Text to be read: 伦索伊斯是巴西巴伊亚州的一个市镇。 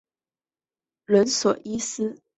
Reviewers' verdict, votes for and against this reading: rejected, 1, 4